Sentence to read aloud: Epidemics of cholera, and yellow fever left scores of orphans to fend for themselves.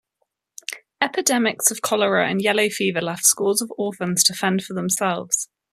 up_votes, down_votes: 2, 0